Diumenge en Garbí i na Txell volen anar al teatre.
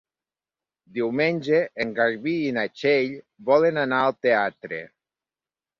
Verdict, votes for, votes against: accepted, 3, 0